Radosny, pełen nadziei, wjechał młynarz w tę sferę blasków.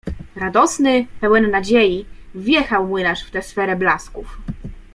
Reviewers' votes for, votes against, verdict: 2, 0, accepted